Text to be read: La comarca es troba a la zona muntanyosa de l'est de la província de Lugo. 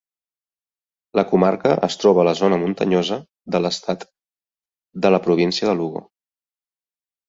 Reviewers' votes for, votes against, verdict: 1, 2, rejected